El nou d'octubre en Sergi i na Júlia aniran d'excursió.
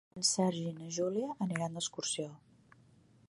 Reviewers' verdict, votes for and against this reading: rejected, 0, 2